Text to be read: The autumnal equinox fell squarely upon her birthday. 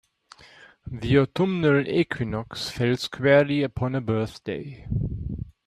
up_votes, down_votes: 2, 0